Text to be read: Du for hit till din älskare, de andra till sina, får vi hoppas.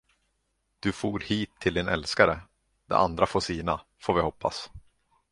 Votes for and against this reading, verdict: 1, 2, rejected